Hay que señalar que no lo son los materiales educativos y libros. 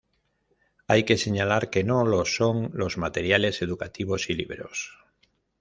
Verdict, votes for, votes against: rejected, 1, 2